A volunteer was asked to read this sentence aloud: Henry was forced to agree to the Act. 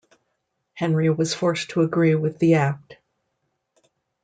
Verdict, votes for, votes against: rejected, 1, 2